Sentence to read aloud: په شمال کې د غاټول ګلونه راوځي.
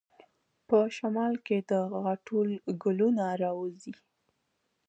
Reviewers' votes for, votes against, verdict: 1, 2, rejected